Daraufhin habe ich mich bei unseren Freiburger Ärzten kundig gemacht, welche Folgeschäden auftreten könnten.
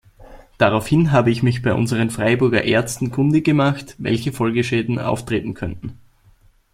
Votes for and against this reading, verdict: 2, 0, accepted